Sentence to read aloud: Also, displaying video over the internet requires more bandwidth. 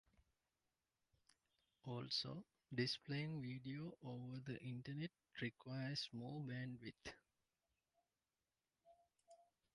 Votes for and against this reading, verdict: 1, 2, rejected